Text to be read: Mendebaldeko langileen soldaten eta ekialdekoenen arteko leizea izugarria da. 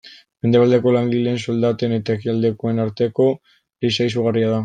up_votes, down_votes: 1, 2